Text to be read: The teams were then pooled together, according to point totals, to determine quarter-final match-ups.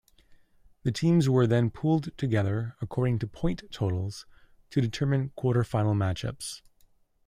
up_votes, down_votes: 2, 0